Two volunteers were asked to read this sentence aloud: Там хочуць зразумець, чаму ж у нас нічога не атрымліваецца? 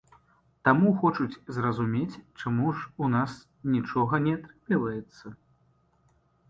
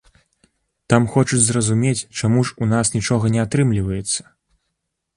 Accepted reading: second